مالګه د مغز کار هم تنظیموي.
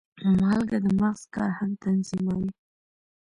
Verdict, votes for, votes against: accepted, 3, 0